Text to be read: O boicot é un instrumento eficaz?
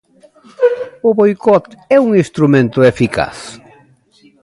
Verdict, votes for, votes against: rejected, 1, 2